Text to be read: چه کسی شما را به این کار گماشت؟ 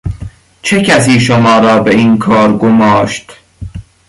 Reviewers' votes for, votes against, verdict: 2, 0, accepted